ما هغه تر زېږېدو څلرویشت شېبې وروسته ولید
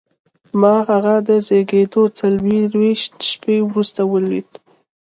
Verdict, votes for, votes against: accepted, 2, 0